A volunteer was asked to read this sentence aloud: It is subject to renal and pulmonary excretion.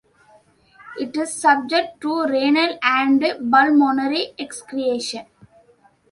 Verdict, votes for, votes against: accepted, 2, 0